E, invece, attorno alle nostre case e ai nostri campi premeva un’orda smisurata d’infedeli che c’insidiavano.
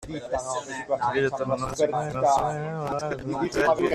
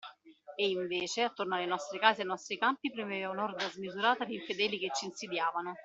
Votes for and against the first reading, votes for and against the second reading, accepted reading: 0, 2, 2, 1, second